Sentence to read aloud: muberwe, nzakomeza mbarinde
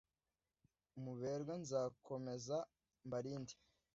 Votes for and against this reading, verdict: 2, 1, accepted